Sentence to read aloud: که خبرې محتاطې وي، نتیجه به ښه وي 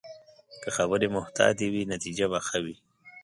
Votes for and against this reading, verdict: 2, 0, accepted